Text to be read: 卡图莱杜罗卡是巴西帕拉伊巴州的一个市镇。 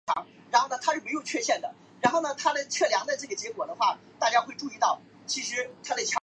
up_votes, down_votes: 1, 3